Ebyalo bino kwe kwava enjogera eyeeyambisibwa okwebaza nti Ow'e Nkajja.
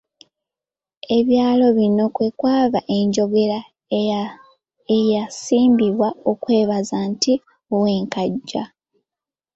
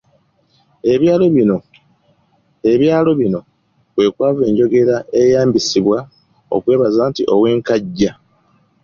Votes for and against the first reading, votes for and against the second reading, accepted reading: 2, 1, 0, 3, first